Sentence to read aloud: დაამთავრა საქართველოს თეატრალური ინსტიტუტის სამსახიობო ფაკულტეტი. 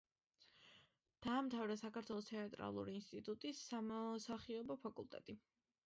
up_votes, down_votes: 0, 2